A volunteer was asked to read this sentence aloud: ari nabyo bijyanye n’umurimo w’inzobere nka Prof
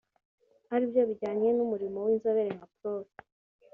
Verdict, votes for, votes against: rejected, 0, 2